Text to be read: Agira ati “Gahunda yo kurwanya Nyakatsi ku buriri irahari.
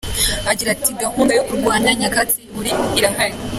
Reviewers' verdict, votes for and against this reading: accepted, 2, 1